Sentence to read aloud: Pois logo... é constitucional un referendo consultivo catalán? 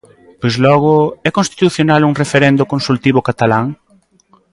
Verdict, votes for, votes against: accepted, 2, 0